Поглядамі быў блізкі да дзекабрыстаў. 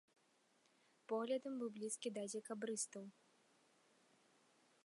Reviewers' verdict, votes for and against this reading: rejected, 1, 2